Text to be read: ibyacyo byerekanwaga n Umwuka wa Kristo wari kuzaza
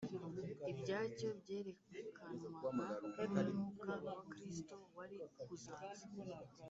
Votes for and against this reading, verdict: 0, 2, rejected